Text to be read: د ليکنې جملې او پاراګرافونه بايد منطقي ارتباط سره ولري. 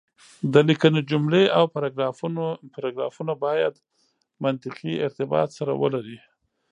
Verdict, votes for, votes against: rejected, 1, 2